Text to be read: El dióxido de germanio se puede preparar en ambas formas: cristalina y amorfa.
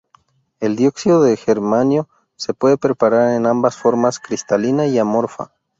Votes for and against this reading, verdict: 2, 2, rejected